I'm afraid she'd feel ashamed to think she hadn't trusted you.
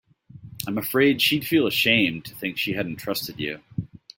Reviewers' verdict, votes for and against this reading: accepted, 2, 0